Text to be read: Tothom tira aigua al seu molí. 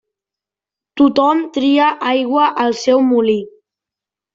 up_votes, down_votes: 0, 2